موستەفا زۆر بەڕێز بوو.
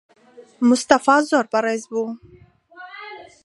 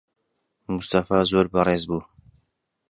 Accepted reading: second